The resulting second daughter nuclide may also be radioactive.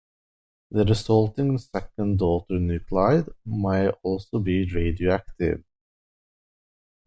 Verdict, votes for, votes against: accepted, 2, 0